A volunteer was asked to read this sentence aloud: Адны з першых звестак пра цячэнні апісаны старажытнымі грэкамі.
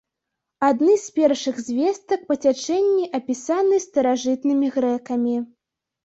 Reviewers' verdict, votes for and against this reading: rejected, 0, 2